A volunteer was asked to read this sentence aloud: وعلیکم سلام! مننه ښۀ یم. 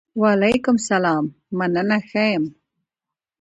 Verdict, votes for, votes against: accepted, 2, 0